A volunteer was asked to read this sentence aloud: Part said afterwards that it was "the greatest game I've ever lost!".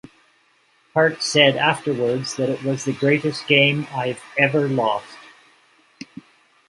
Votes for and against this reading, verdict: 2, 0, accepted